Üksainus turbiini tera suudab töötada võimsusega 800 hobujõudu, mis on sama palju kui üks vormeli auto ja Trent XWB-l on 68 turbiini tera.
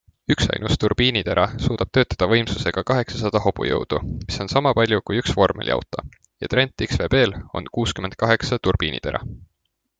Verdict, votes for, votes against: rejected, 0, 2